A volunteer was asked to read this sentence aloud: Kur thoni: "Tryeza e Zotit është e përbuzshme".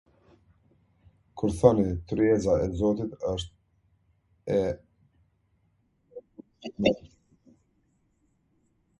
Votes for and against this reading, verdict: 0, 2, rejected